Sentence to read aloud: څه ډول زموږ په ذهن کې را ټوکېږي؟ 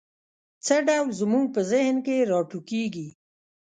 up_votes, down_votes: 1, 2